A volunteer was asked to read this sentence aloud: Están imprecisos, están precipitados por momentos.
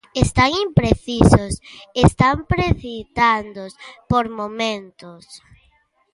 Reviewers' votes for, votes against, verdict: 0, 2, rejected